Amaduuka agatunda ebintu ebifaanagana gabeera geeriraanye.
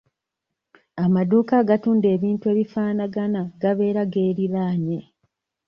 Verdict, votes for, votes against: accepted, 2, 0